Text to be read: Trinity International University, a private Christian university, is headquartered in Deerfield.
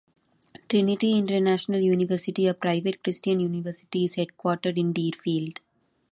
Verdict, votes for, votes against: accepted, 2, 0